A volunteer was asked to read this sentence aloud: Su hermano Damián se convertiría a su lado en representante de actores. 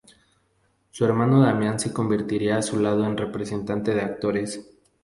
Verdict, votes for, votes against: accepted, 2, 0